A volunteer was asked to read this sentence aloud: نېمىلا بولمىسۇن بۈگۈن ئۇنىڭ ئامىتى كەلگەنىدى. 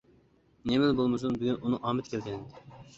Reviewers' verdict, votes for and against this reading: accepted, 3, 0